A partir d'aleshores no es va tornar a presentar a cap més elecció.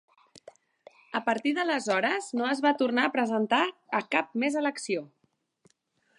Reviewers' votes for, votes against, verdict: 4, 0, accepted